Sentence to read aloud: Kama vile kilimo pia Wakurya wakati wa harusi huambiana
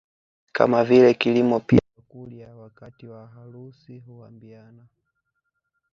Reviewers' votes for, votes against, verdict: 1, 2, rejected